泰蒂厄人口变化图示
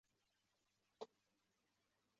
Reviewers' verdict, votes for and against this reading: rejected, 0, 4